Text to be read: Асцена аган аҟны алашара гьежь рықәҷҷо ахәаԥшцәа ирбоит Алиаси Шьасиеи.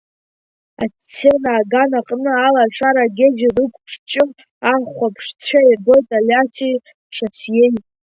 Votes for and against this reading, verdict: 1, 2, rejected